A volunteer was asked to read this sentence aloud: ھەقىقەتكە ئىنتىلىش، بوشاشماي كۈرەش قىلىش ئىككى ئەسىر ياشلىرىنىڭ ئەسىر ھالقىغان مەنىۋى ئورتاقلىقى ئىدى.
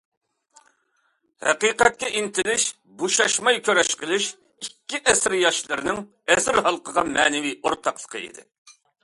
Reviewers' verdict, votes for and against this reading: accepted, 2, 0